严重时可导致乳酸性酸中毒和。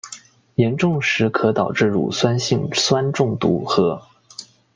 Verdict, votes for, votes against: accepted, 2, 0